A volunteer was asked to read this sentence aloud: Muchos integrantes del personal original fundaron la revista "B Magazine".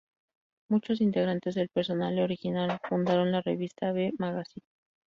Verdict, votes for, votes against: accepted, 2, 0